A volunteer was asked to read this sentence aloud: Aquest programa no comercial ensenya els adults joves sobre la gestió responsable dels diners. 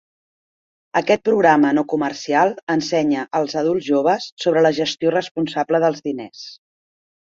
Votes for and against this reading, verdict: 2, 0, accepted